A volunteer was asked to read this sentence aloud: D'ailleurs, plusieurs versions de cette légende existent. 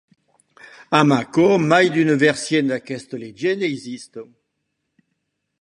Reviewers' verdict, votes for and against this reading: rejected, 1, 2